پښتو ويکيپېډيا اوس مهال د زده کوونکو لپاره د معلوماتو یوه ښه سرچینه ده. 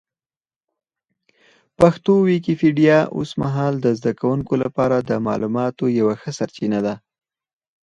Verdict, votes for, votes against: rejected, 0, 4